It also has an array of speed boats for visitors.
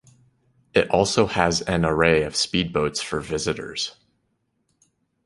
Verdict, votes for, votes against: accepted, 2, 0